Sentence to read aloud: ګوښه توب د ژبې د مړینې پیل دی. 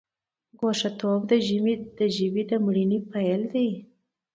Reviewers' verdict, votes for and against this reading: accepted, 2, 1